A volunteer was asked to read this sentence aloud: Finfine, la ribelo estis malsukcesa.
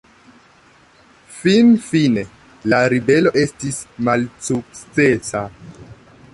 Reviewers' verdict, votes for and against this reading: accepted, 2, 0